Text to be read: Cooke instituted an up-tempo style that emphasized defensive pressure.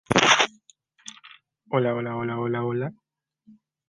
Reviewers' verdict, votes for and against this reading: rejected, 0, 2